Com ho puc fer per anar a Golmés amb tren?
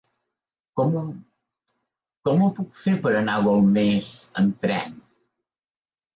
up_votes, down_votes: 1, 2